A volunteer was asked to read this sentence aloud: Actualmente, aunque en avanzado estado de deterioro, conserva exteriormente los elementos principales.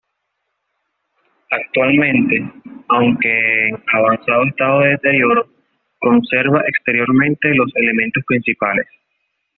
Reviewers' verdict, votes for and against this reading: accepted, 2, 0